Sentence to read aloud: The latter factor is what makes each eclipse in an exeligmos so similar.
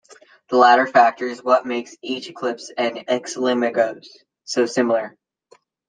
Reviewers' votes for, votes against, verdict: 1, 2, rejected